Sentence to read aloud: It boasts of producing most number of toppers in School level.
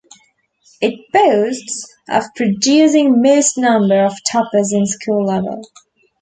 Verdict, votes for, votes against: accepted, 2, 0